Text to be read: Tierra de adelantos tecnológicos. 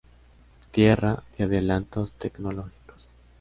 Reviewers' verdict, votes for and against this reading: accepted, 2, 0